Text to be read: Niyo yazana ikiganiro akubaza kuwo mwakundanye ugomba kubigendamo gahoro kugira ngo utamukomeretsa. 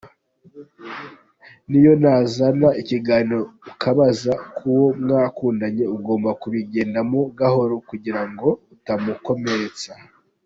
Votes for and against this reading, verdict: 1, 2, rejected